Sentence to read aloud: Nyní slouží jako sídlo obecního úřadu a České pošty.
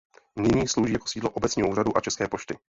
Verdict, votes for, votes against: rejected, 0, 4